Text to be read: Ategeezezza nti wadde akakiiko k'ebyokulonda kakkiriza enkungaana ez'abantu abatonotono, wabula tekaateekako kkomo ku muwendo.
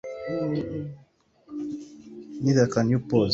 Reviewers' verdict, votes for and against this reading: rejected, 0, 2